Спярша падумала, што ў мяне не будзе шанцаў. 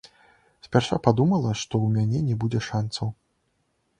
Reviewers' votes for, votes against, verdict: 2, 0, accepted